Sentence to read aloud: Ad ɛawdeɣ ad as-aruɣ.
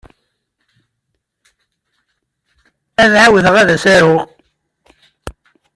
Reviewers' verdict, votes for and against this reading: accepted, 2, 0